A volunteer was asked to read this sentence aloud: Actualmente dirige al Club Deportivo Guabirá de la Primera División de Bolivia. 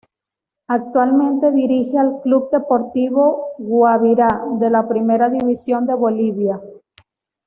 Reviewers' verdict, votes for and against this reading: accepted, 2, 0